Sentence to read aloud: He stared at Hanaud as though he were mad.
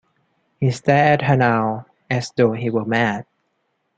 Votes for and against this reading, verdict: 1, 2, rejected